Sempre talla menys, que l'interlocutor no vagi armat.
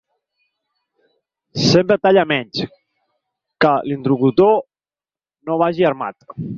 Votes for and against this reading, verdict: 4, 2, accepted